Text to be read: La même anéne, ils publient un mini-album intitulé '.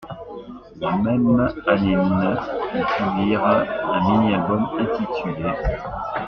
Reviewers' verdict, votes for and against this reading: accepted, 2, 1